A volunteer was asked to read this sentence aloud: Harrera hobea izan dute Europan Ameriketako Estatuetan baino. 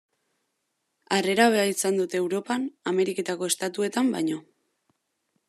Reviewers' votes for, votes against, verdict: 0, 2, rejected